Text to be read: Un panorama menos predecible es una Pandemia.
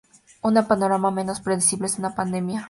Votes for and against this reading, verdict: 0, 4, rejected